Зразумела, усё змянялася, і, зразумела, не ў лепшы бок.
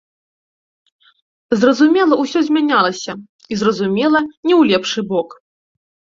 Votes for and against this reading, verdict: 2, 0, accepted